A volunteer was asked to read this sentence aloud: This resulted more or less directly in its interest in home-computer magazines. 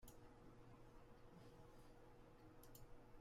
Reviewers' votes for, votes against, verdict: 0, 2, rejected